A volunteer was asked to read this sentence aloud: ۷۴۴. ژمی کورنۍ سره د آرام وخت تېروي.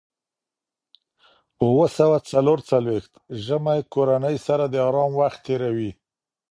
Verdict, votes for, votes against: rejected, 0, 2